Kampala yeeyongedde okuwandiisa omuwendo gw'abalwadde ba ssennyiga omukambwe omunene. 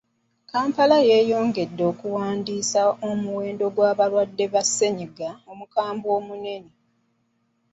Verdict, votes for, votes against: accepted, 2, 1